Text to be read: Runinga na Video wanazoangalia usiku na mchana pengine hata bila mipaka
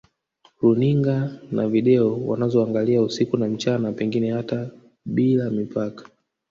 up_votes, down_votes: 1, 2